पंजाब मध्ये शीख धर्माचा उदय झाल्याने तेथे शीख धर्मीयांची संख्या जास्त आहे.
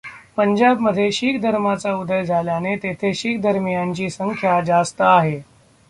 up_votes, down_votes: 1, 2